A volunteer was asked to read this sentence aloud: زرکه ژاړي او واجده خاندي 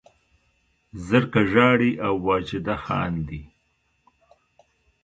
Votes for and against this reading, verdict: 1, 2, rejected